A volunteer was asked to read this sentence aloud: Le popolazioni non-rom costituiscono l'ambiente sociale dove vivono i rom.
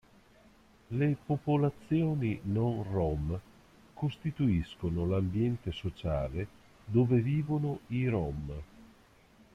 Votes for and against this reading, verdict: 2, 0, accepted